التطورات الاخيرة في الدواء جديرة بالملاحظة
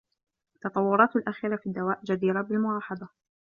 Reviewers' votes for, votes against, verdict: 2, 0, accepted